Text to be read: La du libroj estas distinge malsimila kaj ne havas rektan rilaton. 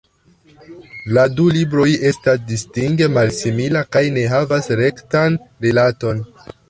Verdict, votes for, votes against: rejected, 1, 2